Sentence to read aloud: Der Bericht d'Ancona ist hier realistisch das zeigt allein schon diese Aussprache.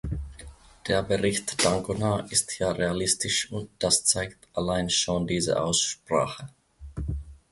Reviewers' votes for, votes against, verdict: 0, 2, rejected